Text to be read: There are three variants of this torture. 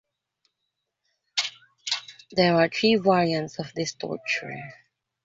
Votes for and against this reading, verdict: 3, 1, accepted